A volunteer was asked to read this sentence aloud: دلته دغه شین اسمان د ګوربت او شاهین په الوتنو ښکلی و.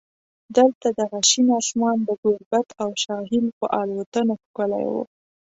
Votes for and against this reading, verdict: 2, 0, accepted